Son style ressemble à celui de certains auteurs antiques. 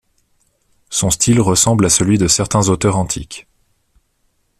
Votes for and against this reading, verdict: 2, 1, accepted